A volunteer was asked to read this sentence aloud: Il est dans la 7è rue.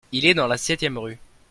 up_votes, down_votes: 0, 2